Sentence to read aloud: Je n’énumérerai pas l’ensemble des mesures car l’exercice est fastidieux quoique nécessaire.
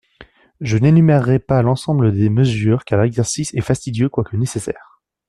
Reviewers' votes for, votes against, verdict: 2, 0, accepted